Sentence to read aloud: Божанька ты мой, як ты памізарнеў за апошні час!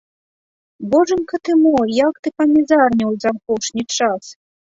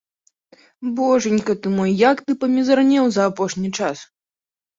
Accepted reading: second